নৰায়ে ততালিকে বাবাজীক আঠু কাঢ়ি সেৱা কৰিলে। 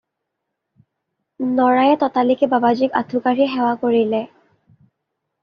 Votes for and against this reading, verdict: 2, 0, accepted